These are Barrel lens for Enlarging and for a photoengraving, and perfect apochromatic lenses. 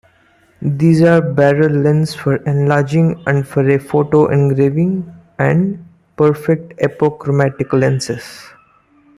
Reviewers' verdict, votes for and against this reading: rejected, 1, 2